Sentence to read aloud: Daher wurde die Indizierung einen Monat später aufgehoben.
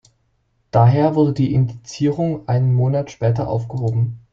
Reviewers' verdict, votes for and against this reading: rejected, 1, 2